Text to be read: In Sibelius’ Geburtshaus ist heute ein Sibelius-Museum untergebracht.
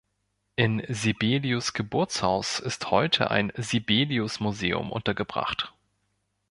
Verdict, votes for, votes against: accepted, 2, 0